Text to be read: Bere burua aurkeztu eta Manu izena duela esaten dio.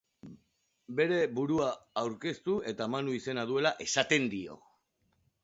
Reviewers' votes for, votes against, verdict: 2, 0, accepted